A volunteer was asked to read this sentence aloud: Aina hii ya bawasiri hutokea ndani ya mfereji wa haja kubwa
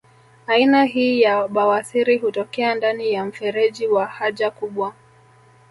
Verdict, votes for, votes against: accepted, 3, 0